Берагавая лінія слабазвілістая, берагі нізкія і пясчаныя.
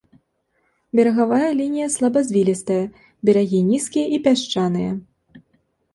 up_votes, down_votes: 2, 0